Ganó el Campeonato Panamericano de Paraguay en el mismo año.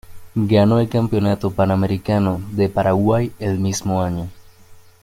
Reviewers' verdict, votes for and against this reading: accepted, 2, 0